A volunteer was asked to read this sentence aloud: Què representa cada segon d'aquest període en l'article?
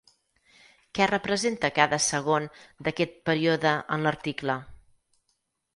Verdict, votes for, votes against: rejected, 2, 4